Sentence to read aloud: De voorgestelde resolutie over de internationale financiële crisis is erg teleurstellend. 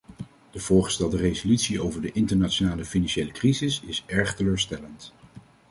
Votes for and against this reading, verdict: 2, 0, accepted